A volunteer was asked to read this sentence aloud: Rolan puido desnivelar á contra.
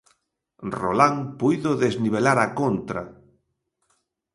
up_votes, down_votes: 2, 0